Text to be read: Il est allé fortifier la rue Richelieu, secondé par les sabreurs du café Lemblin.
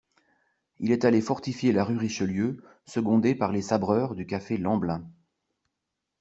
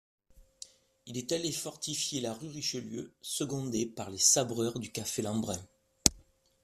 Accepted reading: first